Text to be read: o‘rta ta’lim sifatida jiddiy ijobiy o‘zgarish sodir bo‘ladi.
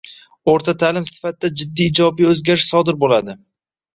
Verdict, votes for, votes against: rejected, 1, 2